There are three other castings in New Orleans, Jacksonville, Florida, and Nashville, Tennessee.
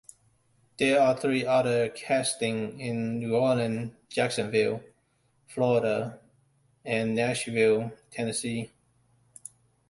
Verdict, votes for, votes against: rejected, 0, 2